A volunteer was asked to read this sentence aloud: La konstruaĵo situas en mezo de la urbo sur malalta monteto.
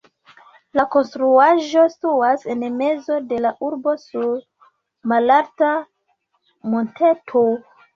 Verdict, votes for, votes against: rejected, 1, 2